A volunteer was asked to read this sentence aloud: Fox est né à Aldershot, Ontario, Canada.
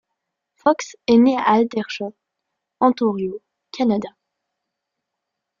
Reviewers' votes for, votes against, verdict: 1, 2, rejected